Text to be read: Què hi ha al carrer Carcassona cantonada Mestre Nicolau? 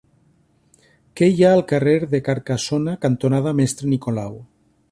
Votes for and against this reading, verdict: 1, 2, rejected